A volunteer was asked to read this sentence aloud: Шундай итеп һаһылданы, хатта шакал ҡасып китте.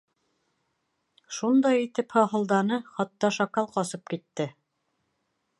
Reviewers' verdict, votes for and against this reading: rejected, 1, 2